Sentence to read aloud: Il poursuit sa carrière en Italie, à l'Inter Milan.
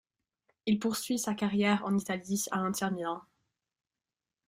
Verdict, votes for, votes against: rejected, 1, 3